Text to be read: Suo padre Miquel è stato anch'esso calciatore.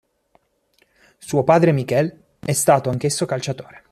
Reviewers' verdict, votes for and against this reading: accepted, 2, 1